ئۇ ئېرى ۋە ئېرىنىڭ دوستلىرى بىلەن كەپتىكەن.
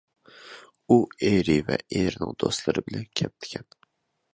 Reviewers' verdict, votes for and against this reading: accepted, 2, 0